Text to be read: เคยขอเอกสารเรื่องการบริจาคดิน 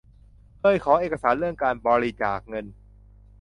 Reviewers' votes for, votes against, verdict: 0, 2, rejected